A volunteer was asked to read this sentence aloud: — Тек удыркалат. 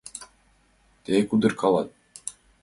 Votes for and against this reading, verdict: 2, 0, accepted